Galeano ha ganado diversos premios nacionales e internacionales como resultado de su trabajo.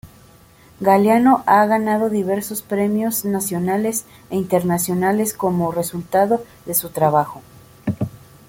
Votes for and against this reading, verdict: 1, 2, rejected